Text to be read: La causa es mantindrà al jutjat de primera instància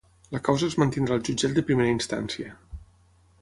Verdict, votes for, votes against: accepted, 6, 0